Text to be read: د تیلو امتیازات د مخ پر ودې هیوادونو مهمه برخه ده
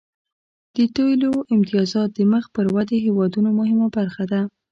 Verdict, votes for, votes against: accepted, 2, 1